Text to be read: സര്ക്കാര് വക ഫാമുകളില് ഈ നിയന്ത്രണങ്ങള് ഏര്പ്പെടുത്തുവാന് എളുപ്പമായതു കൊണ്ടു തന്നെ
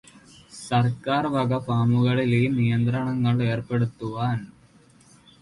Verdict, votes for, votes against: rejected, 0, 2